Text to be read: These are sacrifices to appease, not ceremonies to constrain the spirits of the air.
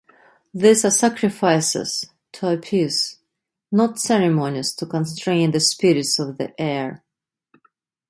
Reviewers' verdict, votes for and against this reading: rejected, 1, 2